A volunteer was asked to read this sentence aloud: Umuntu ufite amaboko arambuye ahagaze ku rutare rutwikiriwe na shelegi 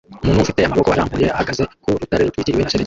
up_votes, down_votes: 0, 2